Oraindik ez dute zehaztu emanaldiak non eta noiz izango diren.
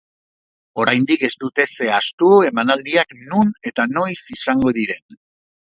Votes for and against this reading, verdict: 3, 0, accepted